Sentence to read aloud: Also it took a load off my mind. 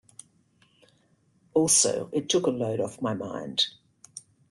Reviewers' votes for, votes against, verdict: 2, 0, accepted